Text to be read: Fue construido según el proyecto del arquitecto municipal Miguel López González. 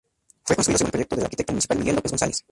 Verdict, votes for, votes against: rejected, 0, 2